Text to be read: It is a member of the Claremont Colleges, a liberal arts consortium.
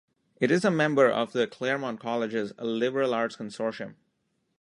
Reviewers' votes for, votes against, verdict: 1, 2, rejected